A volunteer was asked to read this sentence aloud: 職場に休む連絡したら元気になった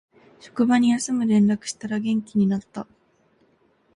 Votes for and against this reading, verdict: 2, 0, accepted